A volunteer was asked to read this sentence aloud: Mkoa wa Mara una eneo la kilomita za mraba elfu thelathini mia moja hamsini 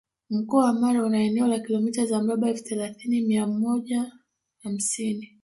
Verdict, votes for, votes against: rejected, 0, 2